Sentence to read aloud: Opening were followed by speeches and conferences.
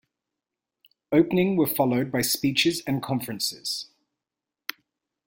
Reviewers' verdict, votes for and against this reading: accepted, 2, 0